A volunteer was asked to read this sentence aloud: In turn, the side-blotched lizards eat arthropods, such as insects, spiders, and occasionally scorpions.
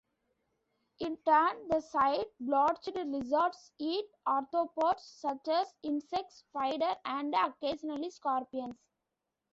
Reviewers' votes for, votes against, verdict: 1, 2, rejected